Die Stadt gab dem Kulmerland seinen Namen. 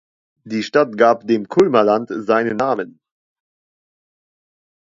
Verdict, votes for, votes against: accepted, 2, 1